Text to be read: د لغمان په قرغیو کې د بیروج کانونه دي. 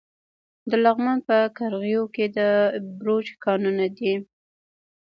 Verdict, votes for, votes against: accepted, 2, 0